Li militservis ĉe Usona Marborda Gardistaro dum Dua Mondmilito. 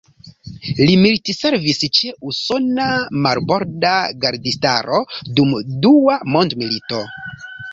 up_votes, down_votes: 3, 0